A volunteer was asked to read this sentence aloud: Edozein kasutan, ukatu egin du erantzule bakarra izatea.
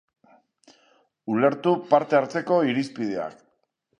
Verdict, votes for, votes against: rejected, 1, 2